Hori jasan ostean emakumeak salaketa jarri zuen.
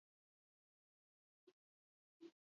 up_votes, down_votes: 0, 2